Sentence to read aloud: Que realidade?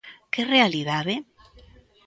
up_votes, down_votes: 2, 0